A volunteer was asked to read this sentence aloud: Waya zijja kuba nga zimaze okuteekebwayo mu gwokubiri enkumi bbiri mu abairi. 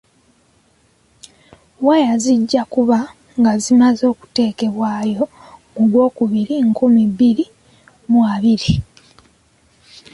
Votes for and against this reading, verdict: 1, 2, rejected